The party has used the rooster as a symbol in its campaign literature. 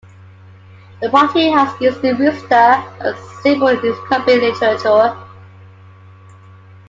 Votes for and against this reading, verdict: 2, 1, accepted